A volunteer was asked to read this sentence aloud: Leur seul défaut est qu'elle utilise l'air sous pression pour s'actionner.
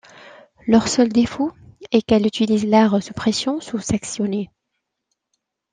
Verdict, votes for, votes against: rejected, 1, 2